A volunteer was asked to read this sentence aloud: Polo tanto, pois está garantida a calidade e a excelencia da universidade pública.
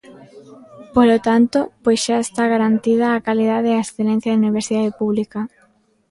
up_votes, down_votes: 0, 2